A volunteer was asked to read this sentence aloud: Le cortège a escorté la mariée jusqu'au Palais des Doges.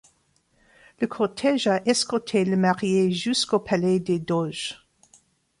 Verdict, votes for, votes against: rejected, 1, 2